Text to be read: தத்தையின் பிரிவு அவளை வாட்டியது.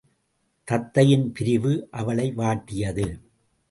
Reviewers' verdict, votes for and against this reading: rejected, 0, 2